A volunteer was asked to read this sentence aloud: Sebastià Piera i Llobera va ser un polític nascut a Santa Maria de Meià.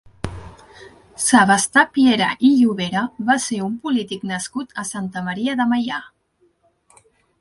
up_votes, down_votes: 1, 2